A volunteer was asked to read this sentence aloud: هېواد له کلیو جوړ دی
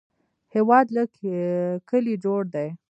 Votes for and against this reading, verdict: 0, 2, rejected